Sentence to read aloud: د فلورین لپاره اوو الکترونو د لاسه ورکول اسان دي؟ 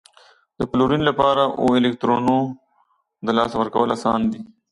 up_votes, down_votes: 2, 0